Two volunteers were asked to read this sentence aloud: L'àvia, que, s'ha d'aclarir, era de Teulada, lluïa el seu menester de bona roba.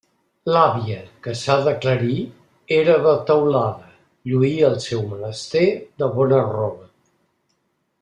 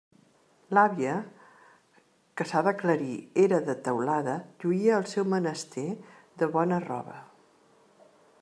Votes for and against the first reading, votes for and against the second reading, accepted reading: 2, 0, 1, 2, first